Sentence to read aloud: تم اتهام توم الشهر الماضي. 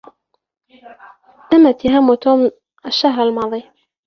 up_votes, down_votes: 2, 1